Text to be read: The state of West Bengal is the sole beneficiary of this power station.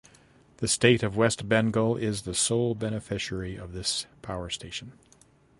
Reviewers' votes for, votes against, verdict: 2, 0, accepted